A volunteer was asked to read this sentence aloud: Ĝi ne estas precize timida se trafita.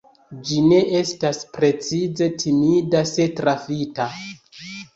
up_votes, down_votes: 2, 0